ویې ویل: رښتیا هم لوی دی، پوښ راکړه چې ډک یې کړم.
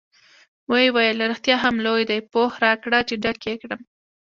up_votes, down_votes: 2, 0